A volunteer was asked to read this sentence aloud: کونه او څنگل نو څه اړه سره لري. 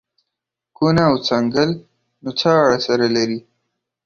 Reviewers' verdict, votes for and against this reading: accepted, 2, 0